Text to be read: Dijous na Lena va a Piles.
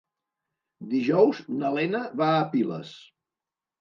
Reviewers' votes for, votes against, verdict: 3, 0, accepted